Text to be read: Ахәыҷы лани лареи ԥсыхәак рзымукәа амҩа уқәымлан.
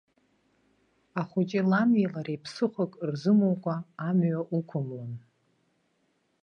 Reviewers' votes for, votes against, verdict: 2, 0, accepted